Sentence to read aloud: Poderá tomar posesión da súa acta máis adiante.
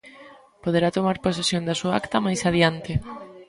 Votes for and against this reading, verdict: 2, 0, accepted